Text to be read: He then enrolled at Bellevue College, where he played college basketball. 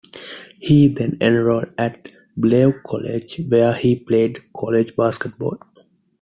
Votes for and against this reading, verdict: 2, 1, accepted